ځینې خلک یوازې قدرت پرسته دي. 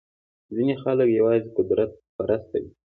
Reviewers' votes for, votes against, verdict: 2, 0, accepted